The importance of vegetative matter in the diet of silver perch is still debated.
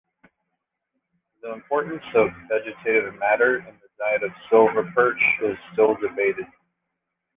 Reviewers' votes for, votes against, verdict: 0, 2, rejected